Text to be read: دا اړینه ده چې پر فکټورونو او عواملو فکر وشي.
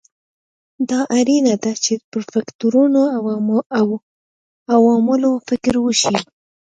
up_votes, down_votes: 2, 1